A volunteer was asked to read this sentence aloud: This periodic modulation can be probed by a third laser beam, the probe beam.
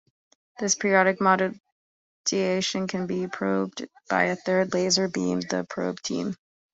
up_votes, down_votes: 0, 2